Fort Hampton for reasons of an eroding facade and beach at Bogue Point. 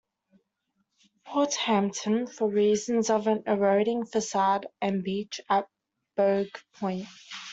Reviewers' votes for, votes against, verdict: 2, 0, accepted